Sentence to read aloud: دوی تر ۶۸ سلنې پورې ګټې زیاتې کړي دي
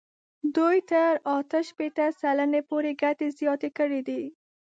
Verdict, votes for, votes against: rejected, 0, 2